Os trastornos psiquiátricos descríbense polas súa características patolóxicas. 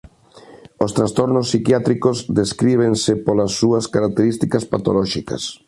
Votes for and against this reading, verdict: 2, 0, accepted